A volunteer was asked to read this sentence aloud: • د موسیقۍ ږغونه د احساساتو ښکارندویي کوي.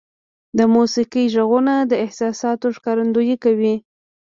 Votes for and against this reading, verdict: 2, 1, accepted